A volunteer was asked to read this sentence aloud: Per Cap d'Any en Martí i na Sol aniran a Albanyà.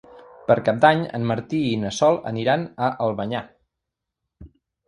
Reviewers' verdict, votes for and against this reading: accepted, 3, 0